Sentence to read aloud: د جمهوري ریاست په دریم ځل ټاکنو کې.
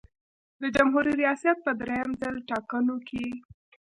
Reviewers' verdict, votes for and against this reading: accepted, 2, 0